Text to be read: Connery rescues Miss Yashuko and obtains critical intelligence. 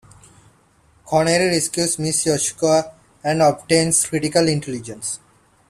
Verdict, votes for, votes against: accepted, 2, 1